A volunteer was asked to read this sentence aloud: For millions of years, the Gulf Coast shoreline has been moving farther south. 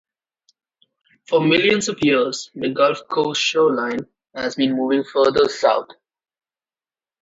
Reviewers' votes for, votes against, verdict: 2, 0, accepted